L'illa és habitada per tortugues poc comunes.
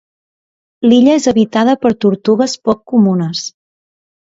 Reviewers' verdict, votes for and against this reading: accepted, 2, 0